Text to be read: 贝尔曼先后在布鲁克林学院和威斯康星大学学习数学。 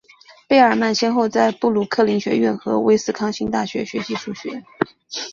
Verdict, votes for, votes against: accepted, 2, 0